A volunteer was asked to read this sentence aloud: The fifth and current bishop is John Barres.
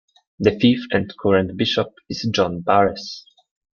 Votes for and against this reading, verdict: 2, 0, accepted